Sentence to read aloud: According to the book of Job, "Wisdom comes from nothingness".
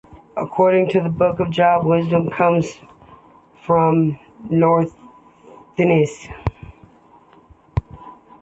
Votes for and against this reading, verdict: 0, 3, rejected